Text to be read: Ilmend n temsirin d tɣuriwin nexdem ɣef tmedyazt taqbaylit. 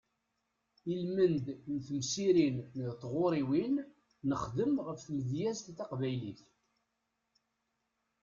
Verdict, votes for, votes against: rejected, 1, 2